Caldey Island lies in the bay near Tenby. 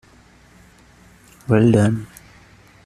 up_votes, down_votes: 0, 2